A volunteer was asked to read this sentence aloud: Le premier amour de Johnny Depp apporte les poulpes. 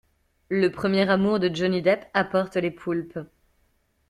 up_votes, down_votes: 2, 0